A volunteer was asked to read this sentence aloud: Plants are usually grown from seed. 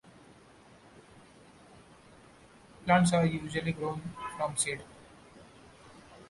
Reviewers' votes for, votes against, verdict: 2, 0, accepted